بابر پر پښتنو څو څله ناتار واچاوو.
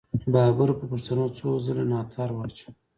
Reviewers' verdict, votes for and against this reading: rejected, 1, 2